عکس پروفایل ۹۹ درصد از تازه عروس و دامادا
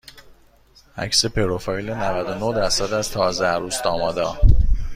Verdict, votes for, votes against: rejected, 0, 2